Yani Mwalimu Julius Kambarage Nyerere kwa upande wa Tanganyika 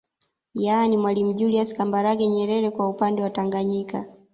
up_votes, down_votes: 2, 0